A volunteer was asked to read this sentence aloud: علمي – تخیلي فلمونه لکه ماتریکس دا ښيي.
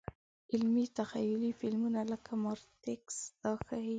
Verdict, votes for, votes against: accepted, 2, 0